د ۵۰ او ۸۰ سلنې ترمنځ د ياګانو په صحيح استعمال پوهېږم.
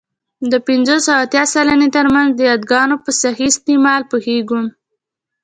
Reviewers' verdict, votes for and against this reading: rejected, 0, 2